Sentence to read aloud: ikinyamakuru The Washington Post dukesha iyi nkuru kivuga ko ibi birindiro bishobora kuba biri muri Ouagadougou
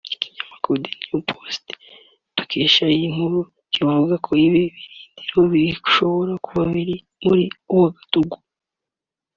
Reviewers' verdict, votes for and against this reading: accepted, 2, 1